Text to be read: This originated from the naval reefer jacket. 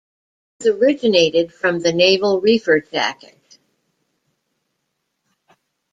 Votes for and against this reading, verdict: 1, 2, rejected